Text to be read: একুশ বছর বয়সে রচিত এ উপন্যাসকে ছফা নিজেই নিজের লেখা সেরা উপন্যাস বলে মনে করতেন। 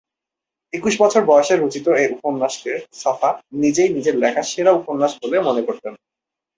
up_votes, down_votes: 2, 0